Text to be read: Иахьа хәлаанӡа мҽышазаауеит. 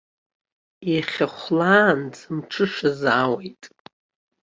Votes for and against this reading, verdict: 2, 0, accepted